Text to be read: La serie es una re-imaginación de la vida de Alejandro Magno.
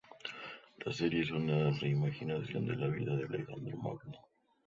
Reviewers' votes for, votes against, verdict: 2, 0, accepted